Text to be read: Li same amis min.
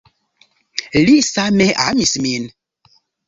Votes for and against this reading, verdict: 1, 2, rejected